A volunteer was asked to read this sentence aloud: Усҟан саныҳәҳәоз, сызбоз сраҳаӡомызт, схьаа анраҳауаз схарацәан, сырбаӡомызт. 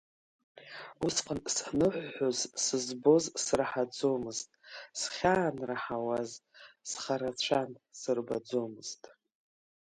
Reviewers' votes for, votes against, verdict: 1, 2, rejected